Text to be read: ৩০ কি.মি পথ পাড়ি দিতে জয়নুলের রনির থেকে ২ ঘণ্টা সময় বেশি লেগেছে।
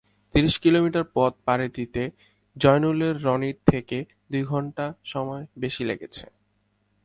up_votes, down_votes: 0, 2